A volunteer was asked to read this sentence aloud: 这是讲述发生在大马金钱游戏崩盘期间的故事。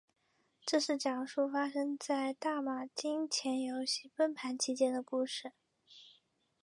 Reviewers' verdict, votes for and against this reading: accepted, 4, 0